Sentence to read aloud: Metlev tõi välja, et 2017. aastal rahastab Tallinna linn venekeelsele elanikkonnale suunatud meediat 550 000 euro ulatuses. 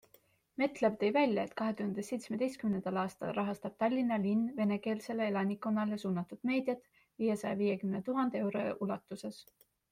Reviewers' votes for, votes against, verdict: 0, 2, rejected